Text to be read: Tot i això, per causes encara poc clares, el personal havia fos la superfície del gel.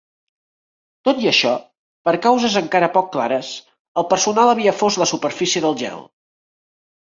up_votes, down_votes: 3, 0